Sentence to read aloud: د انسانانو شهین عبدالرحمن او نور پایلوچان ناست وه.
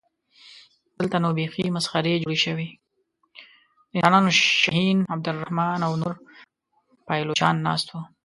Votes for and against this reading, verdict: 0, 2, rejected